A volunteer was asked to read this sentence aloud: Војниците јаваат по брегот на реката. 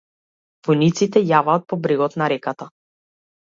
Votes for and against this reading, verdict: 2, 0, accepted